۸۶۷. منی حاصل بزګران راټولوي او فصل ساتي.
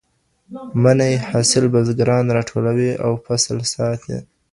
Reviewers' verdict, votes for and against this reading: rejected, 0, 2